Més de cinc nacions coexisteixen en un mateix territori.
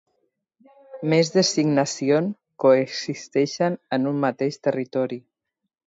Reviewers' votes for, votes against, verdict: 1, 2, rejected